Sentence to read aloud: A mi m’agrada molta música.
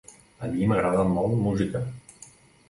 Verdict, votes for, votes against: rejected, 2, 3